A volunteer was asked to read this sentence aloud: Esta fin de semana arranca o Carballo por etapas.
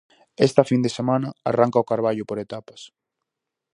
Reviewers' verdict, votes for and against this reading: accepted, 4, 0